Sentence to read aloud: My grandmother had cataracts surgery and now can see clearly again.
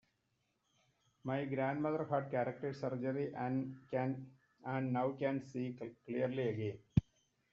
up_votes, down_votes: 0, 2